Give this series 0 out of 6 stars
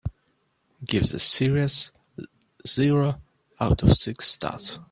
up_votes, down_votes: 0, 2